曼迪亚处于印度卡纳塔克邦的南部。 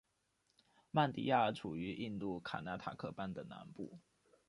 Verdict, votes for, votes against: rejected, 0, 2